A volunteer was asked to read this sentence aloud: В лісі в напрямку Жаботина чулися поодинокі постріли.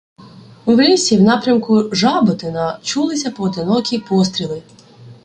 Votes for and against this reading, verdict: 1, 2, rejected